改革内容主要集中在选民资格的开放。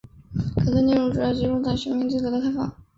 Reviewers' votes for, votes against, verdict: 2, 3, rejected